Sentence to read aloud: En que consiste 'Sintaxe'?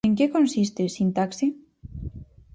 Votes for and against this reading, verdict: 2, 2, rejected